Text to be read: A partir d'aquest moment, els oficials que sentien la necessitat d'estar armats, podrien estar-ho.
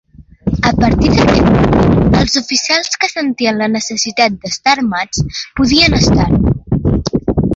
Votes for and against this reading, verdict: 0, 2, rejected